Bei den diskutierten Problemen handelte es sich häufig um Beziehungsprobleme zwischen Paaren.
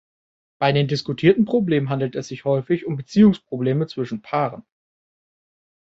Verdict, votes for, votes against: rejected, 0, 2